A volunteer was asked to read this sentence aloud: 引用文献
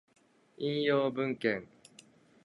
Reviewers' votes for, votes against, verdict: 2, 0, accepted